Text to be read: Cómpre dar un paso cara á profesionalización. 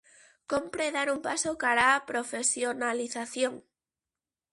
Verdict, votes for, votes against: accepted, 2, 0